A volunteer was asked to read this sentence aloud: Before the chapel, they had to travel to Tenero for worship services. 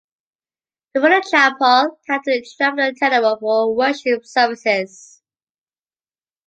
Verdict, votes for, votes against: accepted, 2, 0